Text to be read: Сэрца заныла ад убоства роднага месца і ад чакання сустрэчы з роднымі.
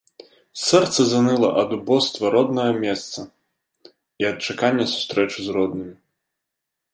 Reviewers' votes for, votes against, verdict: 2, 0, accepted